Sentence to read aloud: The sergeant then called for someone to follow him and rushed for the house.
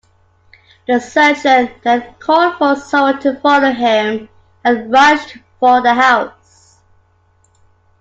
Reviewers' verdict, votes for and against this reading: accepted, 2, 0